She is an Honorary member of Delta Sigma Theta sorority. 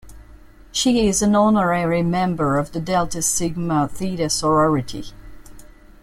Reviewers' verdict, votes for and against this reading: accepted, 2, 1